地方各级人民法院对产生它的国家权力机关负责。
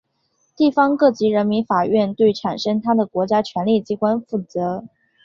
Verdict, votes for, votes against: accepted, 5, 0